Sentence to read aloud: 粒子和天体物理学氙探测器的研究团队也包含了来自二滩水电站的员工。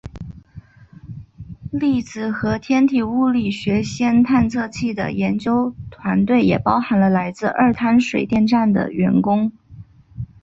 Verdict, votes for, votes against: accepted, 3, 0